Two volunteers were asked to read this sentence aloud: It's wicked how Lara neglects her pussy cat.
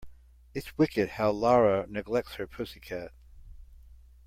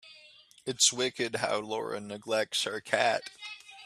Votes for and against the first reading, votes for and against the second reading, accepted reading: 2, 0, 1, 2, first